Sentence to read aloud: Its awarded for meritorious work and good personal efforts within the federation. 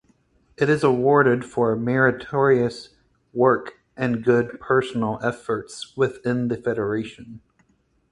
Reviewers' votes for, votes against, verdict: 4, 0, accepted